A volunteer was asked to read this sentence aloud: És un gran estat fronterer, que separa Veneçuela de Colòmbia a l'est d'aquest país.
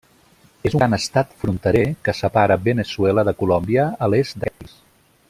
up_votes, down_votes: 0, 2